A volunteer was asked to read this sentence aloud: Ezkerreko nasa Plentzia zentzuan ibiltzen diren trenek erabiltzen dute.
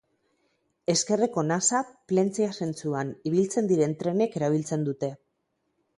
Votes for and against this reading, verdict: 6, 0, accepted